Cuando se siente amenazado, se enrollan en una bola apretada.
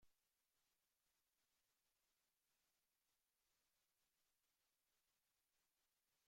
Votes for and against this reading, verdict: 0, 2, rejected